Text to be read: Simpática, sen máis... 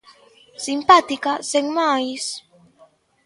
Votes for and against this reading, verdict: 2, 0, accepted